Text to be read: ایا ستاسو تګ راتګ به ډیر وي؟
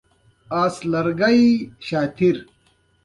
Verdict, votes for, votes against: accepted, 2, 0